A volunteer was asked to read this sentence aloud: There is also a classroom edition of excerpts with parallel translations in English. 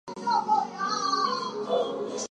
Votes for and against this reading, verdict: 0, 4, rejected